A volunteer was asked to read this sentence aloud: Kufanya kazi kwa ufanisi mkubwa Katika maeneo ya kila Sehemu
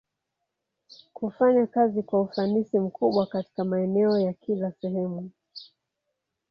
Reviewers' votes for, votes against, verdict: 1, 2, rejected